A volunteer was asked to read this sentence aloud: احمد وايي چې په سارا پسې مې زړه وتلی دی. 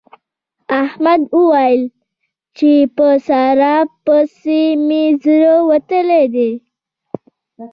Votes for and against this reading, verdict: 1, 2, rejected